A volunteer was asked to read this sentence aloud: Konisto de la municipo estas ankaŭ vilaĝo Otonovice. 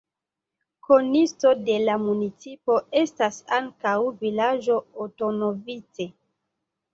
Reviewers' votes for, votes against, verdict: 2, 1, accepted